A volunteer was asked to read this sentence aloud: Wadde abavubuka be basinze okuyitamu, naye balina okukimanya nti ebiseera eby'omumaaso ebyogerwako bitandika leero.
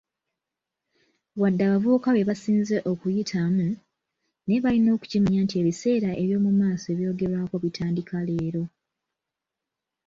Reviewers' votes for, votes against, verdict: 0, 2, rejected